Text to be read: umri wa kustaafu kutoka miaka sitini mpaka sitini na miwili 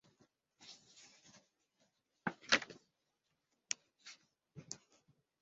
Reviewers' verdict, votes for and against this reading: rejected, 0, 2